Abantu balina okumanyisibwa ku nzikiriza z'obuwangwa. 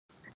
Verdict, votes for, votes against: rejected, 0, 2